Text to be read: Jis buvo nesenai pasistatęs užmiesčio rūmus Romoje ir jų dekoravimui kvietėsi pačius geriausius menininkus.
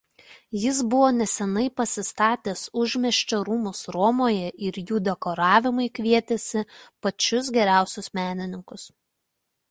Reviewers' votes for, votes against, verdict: 2, 0, accepted